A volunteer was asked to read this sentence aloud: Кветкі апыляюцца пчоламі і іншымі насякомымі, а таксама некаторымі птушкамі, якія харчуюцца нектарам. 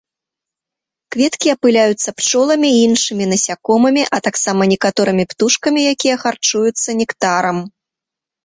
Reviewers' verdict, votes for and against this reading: accepted, 2, 0